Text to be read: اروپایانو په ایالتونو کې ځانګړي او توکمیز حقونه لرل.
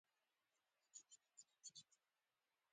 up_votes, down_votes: 0, 2